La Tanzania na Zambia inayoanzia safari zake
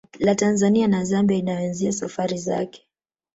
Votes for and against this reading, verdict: 1, 2, rejected